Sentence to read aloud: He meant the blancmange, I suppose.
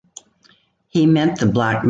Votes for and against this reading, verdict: 0, 2, rejected